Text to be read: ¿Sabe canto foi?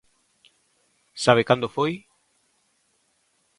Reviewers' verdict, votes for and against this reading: rejected, 0, 2